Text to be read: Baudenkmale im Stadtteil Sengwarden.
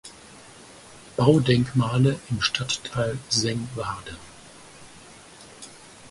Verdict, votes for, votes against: accepted, 4, 0